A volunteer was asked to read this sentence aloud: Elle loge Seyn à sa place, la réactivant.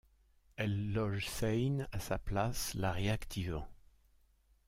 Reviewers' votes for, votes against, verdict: 0, 2, rejected